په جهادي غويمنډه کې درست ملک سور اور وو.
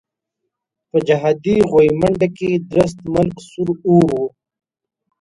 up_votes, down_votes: 2, 0